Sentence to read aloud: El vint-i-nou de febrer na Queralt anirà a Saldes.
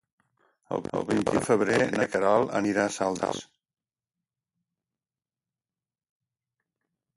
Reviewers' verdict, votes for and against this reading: rejected, 0, 2